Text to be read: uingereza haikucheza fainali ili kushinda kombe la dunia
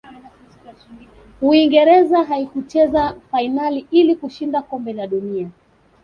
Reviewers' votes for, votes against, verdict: 2, 0, accepted